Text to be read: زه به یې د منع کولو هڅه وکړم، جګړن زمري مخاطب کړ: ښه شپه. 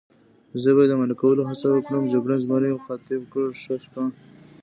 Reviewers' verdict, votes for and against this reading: rejected, 0, 2